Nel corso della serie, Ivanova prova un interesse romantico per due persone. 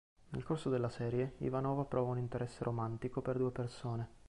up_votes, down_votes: 2, 0